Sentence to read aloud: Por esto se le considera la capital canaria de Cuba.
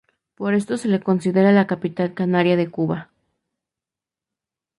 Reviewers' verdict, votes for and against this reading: rejected, 2, 2